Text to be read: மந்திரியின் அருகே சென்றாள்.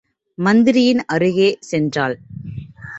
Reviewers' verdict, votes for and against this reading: accepted, 2, 0